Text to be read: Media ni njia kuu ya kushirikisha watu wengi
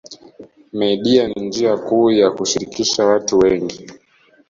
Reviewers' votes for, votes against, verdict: 2, 0, accepted